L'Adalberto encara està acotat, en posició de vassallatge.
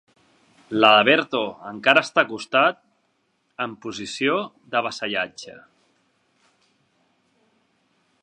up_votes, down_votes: 0, 2